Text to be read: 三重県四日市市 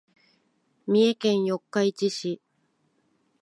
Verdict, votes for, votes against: accepted, 3, 0